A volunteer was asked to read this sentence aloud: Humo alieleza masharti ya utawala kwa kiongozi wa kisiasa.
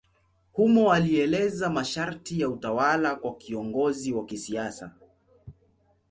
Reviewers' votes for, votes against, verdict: 2, 0, accepted